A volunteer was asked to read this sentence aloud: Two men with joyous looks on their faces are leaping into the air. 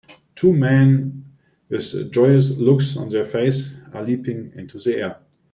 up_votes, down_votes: 0, 2